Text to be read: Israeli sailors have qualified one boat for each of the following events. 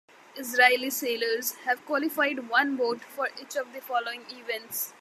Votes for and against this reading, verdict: 2, 0, accepted